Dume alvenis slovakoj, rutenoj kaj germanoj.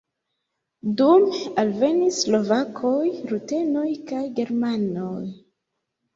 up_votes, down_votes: 2, 3